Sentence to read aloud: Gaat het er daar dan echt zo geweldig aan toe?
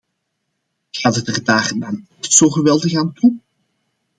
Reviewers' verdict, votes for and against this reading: rejected, 1, 2